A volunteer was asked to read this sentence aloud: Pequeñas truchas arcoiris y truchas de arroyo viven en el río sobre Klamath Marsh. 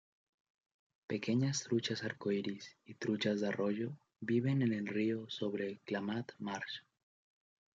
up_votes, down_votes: 3, 1